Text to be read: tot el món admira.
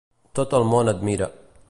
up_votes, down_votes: 2, 0